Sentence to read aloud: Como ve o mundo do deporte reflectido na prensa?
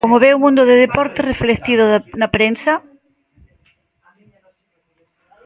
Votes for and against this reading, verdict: 0, 2, rejected